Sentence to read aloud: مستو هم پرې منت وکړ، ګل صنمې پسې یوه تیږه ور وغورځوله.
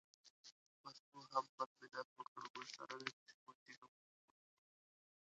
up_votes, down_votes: 0, 2